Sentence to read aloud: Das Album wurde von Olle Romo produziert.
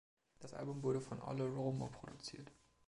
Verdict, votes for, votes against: accepted, 2, 0